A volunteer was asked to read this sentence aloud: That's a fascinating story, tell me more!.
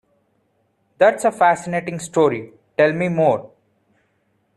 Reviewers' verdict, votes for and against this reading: accepted, 2, 0